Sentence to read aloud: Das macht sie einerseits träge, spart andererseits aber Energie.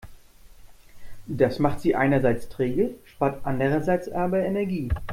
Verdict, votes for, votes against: accepted, 2, 0